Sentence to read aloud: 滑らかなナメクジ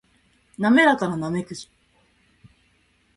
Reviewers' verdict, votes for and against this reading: accepted, 2, 0